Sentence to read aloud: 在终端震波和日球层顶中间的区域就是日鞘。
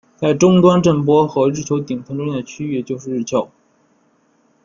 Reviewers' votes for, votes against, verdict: 1, 2, rejected